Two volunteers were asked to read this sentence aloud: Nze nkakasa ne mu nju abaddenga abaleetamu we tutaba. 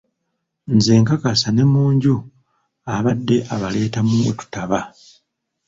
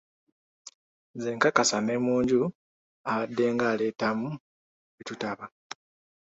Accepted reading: second